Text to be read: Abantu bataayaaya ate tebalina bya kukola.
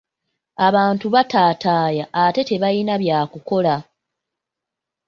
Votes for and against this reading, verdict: 1, 2, rejected